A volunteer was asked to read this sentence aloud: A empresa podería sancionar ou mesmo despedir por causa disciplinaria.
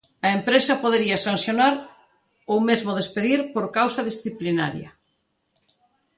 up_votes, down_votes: 2, 0